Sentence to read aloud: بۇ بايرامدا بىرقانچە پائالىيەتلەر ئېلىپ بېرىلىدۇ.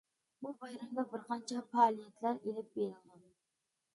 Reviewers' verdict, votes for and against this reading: rejected, 1, 2